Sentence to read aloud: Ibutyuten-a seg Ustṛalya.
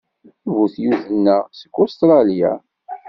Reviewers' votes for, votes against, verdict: 2, 0, accepted